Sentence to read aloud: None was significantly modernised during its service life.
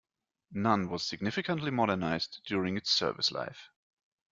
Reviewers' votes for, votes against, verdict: 2, 0, accepted